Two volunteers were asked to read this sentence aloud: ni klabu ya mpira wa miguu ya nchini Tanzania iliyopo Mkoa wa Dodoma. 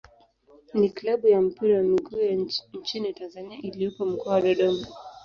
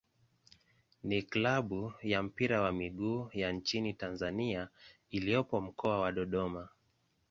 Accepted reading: second